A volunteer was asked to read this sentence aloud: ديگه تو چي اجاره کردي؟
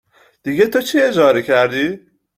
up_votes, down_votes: 2, 0